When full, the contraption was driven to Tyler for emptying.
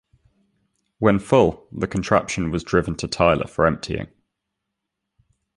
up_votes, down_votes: 2, 0